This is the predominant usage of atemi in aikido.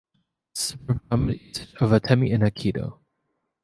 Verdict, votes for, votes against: rejected, 0, 2